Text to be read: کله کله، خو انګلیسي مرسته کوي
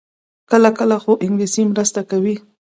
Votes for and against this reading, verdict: 2, 0, accepted